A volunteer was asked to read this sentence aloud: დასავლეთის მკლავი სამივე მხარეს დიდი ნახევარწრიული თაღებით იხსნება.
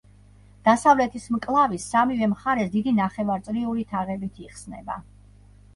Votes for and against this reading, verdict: 1, 2, rejected